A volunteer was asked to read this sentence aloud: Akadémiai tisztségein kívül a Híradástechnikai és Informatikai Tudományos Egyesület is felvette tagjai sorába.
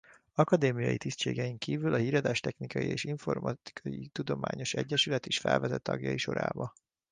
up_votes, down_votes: 2, 0